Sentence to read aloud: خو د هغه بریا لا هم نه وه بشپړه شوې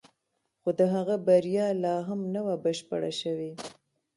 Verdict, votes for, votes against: rejected, 0, 2